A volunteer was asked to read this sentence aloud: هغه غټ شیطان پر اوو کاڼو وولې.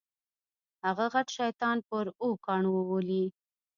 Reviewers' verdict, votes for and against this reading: rejected, 1, 2